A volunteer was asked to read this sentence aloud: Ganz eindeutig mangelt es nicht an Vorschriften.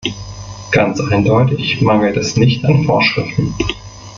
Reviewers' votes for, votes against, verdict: 1, 2, rejected